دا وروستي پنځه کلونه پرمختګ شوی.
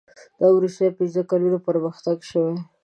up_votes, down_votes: 2, 0